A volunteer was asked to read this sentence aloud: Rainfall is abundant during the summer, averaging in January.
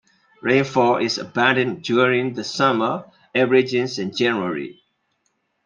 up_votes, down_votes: 1, 2